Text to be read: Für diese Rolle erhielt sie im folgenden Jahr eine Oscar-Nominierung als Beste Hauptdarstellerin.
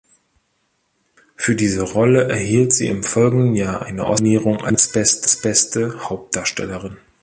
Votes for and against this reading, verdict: 0, 2, rejected